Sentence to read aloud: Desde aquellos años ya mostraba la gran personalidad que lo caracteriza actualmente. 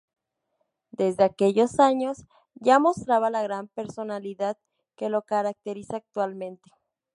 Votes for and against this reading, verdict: 4, 0, accepted